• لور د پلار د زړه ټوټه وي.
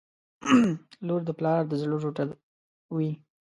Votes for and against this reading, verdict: 0, 2, rejected